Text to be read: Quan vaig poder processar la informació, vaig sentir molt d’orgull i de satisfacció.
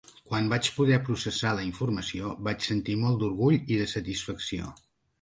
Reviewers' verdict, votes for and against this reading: accepted, 2, 0